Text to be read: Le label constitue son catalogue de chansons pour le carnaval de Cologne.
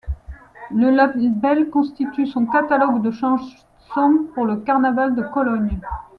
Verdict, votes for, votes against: rejected, 1, 2